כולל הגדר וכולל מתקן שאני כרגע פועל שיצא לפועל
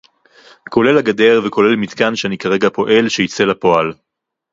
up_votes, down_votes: 4, 0